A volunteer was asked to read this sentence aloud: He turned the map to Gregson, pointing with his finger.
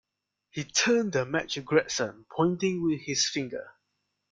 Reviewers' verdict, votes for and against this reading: rejected, 0, 2